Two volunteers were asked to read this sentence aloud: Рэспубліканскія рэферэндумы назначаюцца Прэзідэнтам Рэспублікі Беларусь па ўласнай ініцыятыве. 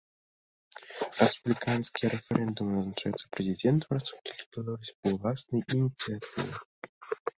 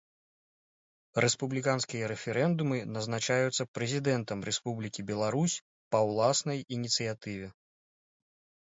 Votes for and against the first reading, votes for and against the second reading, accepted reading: 1, 2, 2, 0, second